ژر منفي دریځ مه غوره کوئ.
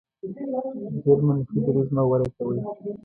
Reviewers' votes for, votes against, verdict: 0, 2, rejected